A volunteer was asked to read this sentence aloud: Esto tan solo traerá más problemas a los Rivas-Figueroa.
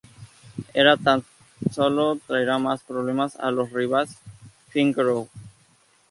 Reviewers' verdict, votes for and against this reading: rejected, 0, 2